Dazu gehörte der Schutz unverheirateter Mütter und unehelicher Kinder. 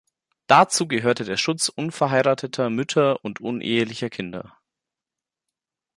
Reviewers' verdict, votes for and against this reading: accepted, 2, 0